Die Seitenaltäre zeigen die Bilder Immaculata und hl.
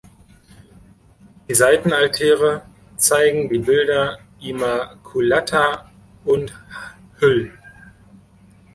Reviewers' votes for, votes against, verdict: 1, 2, rejected